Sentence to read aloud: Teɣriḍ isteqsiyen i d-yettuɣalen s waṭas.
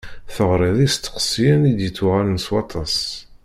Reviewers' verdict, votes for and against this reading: accepted, 2, 0